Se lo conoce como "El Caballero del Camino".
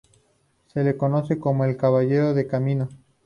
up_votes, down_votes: 0, 2